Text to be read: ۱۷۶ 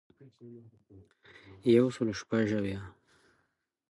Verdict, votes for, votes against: rejected, 0, 2